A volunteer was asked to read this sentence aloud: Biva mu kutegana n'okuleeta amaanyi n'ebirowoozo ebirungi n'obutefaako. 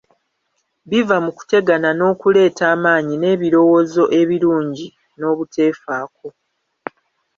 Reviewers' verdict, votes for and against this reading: rejected, 1, 2